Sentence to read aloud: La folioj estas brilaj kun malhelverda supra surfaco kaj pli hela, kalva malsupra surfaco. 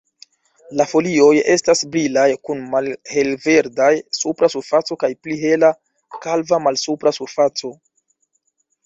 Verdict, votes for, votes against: rejected, 0, 2